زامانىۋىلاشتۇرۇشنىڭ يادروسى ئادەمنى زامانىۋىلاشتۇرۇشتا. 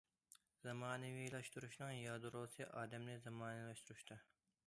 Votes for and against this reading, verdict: 2, 0, accepted